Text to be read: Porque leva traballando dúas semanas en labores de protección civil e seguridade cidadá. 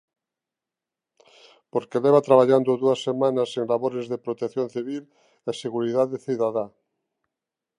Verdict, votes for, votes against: accepted, 2, 0